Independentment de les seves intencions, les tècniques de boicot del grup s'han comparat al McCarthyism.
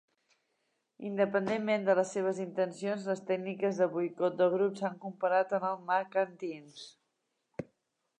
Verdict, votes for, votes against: accepted, 2, 1